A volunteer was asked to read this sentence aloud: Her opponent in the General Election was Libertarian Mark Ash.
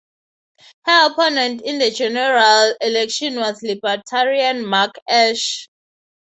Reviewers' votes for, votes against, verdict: 3, 0, accepted